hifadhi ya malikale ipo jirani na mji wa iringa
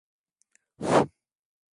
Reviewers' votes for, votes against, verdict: 0, 3, rejected